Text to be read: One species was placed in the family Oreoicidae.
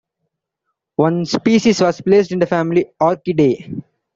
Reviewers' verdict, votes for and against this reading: rejected, 2, 3